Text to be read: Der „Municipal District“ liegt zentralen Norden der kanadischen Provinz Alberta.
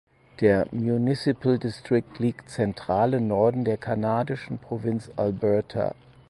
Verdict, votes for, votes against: rejected, 2, 4